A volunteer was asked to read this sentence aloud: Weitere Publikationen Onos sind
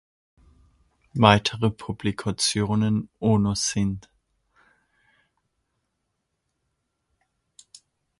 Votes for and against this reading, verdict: 2, 0, accepted